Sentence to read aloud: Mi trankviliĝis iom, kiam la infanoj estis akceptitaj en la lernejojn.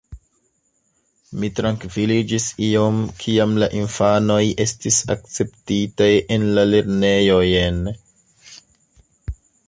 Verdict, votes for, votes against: rejected, 1, 2